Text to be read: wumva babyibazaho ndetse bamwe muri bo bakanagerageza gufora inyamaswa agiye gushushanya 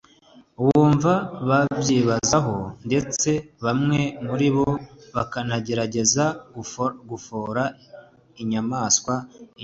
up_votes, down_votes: 1, 2